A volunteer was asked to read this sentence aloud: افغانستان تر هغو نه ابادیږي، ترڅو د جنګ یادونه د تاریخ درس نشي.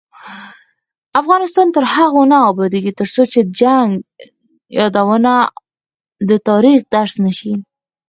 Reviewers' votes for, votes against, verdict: 4, 2, accepted